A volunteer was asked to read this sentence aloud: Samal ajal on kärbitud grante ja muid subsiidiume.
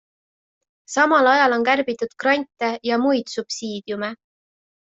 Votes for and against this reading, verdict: 2, 0, accepted